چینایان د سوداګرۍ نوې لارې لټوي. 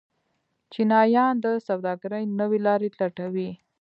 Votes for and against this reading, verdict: 2, 0, accepted